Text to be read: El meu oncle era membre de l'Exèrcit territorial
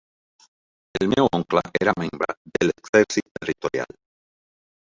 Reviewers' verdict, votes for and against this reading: rejected, 0, 2